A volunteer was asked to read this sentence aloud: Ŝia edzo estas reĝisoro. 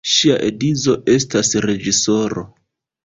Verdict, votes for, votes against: rejected, 0, 2